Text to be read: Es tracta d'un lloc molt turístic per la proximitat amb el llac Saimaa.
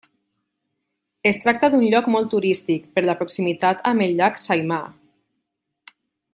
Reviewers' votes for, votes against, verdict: 3, 0, accepted